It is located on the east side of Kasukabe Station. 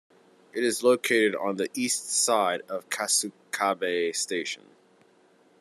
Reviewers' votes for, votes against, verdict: 2, 0, accepted